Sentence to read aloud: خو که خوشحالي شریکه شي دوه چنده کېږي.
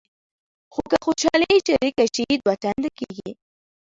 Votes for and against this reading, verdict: 0, 2, rejected